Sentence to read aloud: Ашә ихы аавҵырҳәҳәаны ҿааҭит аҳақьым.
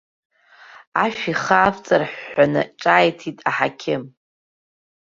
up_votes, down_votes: 2, 0